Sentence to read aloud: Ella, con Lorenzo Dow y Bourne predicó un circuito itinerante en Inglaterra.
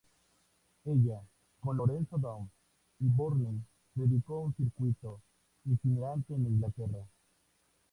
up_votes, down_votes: 0, 2